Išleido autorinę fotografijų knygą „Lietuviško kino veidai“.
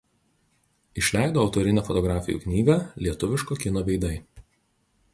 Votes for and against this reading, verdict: 2, 0, accepted